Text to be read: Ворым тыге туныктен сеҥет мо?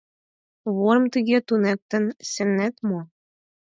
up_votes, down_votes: 4, 2